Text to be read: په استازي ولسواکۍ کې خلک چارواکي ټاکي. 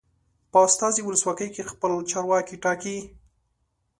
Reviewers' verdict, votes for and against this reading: accepted, 2, 0